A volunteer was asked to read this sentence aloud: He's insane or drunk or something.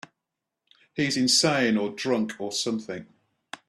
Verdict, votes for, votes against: accepted, 2, 0